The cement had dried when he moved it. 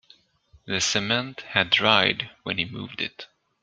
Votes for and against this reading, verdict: 2, 0, accepted